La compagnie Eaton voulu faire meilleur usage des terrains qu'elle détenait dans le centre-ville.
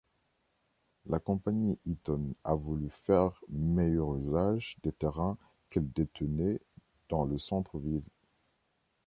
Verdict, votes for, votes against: rejected, 0, 2